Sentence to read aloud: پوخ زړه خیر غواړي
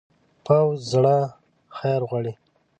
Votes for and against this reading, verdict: 0, 2, rejected